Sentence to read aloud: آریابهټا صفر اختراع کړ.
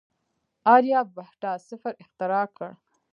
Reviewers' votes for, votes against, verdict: 1, 2, rejected